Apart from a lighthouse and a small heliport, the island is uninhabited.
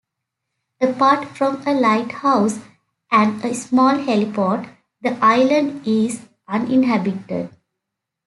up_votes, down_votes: 2, 0